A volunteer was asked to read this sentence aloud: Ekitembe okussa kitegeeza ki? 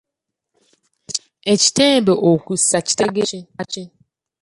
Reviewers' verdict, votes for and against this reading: rejected, 0, 2